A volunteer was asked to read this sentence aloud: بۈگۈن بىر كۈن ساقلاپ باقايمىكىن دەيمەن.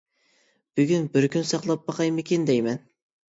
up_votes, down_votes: 2, 0